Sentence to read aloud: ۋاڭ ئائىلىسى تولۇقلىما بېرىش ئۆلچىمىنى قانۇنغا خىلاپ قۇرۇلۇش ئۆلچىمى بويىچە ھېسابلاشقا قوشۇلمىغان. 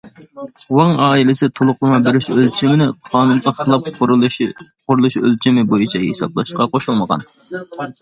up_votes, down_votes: 0, 2